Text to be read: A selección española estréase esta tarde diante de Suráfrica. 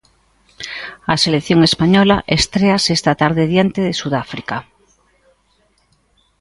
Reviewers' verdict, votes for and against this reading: rejected, 1, 2